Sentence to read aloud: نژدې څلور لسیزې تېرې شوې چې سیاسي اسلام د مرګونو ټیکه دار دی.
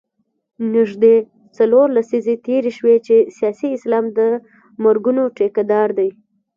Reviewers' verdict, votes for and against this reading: rejected, 1, 2